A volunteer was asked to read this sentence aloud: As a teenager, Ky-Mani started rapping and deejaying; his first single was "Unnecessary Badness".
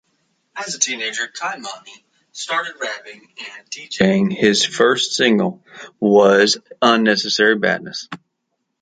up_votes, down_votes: 2, 1